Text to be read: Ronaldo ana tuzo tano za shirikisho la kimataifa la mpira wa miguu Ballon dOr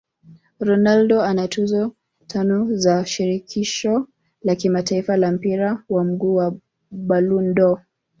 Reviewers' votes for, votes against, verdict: 0, 2, rejected